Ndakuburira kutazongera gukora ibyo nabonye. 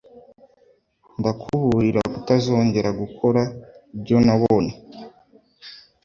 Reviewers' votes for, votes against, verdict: 2, 0, accepted